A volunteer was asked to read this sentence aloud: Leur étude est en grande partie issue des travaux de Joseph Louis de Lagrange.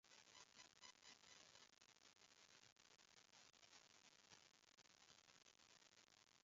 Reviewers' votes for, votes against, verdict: 0, 2, rejected